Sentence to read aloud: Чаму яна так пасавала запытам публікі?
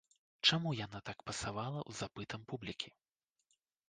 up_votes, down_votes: 1, 2